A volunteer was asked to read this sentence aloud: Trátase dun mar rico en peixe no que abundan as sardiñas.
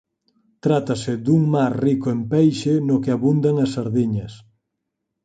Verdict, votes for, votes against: accepted, 4, 0